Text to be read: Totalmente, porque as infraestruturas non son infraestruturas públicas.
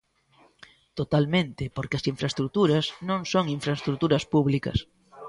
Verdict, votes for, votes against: rejected, 1, 2